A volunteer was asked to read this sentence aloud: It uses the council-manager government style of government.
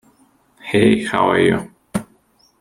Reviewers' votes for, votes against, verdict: 0, 2, rejected